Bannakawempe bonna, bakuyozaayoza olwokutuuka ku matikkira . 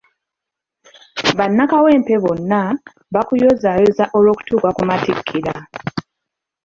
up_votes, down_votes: 0, 2